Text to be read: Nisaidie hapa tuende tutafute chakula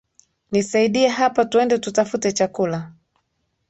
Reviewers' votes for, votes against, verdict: 1, 2, rejected